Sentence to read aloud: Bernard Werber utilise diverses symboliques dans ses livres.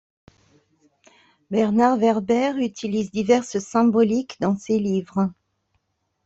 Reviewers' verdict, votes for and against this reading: accepted, 2, 0